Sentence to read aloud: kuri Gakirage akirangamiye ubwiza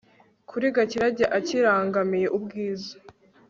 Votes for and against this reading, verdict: 1, 2, rejected